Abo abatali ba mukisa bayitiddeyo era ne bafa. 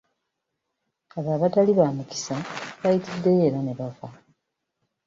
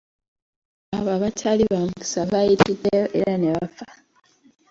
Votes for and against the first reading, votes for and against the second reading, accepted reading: 2, 0, 1, 2, first